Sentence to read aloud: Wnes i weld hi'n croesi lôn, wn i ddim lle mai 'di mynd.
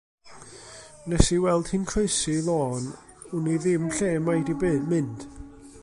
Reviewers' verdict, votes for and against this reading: rejected, 0, 2